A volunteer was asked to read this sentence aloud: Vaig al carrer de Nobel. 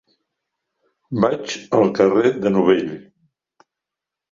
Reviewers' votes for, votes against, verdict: 0, 3, rejected